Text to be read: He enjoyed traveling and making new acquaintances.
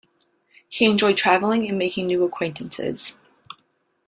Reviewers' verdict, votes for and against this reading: accepted, 3, 0